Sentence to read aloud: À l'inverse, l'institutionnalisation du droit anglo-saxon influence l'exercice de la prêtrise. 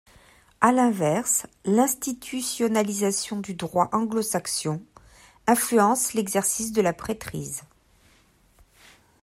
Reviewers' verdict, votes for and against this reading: rejected, 0, 2